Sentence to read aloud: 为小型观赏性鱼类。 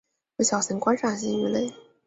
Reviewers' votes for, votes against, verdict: 8, 0, accepted